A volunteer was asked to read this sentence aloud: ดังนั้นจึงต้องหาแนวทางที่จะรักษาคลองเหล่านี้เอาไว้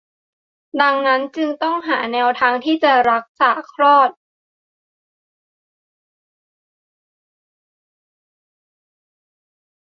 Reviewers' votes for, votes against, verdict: 0, 2, rejected